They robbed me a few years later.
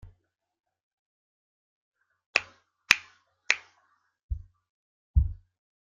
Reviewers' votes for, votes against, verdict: 0, 2, rejected